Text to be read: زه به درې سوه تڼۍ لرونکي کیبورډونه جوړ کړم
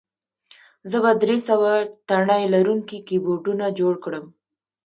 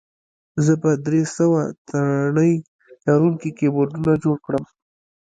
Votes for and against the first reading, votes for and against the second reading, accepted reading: 2, 1, 1, 2, first